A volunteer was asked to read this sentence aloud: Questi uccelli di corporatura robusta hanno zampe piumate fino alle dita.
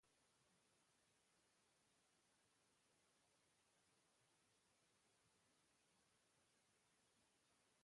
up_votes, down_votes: 0, 2